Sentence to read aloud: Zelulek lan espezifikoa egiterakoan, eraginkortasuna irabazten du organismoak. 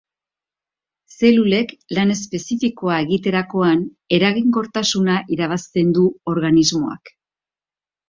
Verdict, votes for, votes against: accepted, 2, 0